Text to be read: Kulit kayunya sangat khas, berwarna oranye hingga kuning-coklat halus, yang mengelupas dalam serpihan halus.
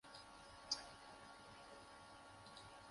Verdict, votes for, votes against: rejected, 0, 2